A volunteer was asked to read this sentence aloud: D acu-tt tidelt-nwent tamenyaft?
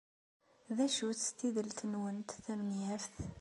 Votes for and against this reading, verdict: 2, 0, accepted